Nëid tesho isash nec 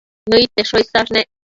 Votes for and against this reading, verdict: 1, 2, rejected